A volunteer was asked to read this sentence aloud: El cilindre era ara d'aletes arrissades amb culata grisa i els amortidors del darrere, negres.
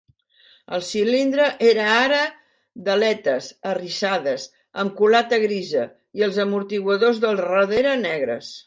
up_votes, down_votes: 0, 2